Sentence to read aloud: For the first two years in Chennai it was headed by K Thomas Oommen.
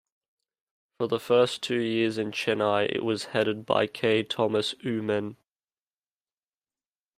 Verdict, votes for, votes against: accepted, 2, 0